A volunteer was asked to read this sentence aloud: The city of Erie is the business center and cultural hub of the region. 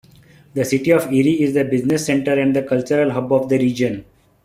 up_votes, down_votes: 1, 2